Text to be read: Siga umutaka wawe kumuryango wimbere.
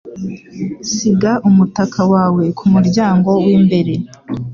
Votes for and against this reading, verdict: 2, 0, accepted